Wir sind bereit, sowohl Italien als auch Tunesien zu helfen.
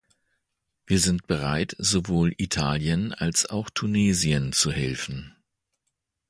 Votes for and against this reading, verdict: 2, 0, accepted